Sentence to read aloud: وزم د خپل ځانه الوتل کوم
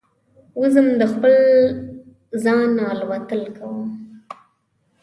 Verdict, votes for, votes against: accepted, 2, 0